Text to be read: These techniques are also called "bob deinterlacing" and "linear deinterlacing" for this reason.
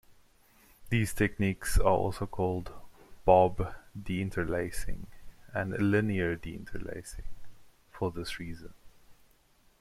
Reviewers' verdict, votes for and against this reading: accepted, 2, 1